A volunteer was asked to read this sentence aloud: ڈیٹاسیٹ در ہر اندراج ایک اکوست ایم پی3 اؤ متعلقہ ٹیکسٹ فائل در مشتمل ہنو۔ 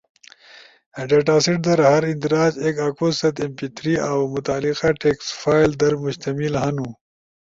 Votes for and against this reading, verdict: 0, 2, rejected